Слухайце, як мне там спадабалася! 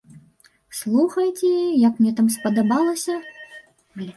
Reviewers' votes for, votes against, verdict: 1, 2, rejected